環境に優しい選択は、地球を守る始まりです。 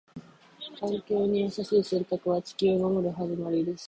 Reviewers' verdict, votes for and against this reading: accepted, 2, 0